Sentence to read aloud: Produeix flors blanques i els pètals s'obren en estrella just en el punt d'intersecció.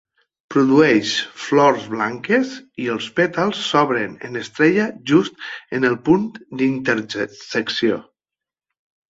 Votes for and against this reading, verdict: 3, 4, rejected